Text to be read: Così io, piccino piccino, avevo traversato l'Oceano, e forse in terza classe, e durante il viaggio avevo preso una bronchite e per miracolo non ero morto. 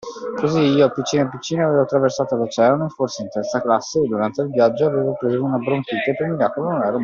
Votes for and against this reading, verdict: 0, 2, rejected